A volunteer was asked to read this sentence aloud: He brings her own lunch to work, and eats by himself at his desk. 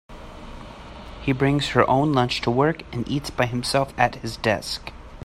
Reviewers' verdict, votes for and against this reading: accepted, 2, 0